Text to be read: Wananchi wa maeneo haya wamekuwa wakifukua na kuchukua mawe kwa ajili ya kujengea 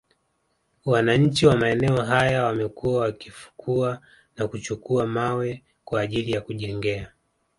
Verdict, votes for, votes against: accepted, 2, 1